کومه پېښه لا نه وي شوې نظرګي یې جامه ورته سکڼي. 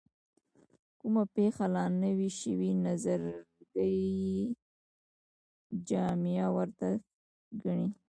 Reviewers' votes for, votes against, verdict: 1, 2, rejected